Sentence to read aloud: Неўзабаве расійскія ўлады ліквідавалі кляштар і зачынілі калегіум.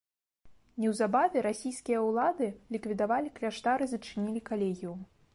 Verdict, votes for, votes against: accepted, 2, 0